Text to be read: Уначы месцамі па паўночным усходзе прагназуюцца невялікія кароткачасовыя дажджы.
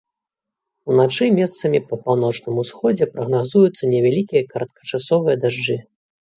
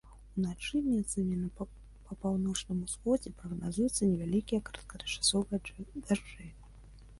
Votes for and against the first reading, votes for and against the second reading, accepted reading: 2, 0, 0, 2, first